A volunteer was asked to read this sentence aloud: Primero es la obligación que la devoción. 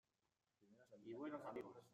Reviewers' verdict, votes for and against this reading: rejected, 0, 2